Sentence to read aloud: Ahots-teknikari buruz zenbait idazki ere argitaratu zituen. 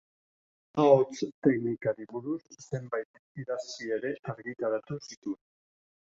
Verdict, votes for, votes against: rejected, 1, 2